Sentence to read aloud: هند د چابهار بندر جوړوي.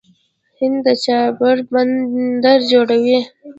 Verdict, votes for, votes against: accepted, 2, 0